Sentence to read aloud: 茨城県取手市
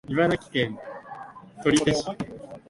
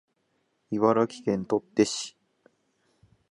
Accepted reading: second